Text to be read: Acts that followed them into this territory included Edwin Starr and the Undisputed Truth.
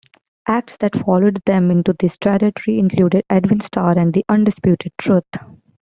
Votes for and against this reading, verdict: 1, 2, rejected